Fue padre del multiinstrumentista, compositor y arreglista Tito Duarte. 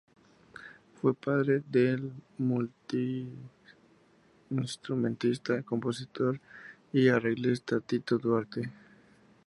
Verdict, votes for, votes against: accepted, 2, 0